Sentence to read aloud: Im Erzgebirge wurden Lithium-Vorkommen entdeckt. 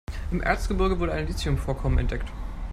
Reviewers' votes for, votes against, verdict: 1, 2, rejected